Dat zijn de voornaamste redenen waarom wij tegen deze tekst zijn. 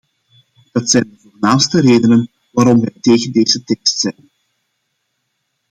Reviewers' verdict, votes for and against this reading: rejected, 0, 2